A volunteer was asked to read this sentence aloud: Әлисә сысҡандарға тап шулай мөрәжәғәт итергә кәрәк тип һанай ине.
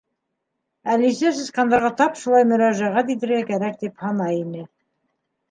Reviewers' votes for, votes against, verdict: 3, 0, accepted